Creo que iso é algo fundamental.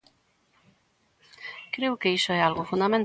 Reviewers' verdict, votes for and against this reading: rejected, 0, 2